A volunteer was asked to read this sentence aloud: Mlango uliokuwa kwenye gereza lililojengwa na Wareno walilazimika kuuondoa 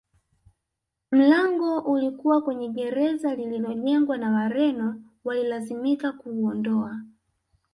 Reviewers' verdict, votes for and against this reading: rejected, 0, 2